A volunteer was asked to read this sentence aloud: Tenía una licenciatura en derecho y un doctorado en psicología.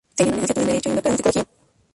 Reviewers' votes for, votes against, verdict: 0, 2, rejected